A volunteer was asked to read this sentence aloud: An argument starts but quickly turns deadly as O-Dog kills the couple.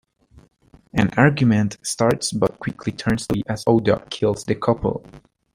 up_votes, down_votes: 0, 2